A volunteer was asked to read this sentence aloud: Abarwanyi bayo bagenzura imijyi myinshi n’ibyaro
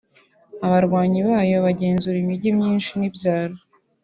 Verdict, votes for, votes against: accepted, 2, 0